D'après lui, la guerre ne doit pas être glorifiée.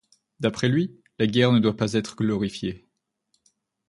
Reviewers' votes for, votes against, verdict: 2, 0, accepted